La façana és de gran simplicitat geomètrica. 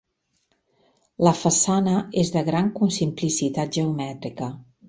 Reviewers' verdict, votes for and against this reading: rejected, 0, 2